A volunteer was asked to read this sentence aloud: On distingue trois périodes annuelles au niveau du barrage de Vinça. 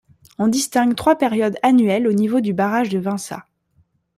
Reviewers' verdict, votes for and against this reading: accepted, 2, 0